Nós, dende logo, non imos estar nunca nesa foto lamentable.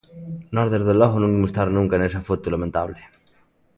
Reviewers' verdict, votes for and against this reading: accepted, 2, 0